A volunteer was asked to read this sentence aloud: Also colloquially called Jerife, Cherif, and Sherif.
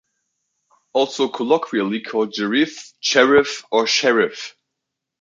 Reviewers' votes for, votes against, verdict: 2, 0, accepted